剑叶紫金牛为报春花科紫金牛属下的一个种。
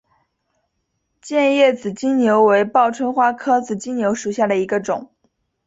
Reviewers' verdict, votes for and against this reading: accepted, 2, 0